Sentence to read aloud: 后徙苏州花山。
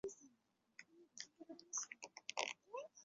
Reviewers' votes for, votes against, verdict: 0, 2, rejected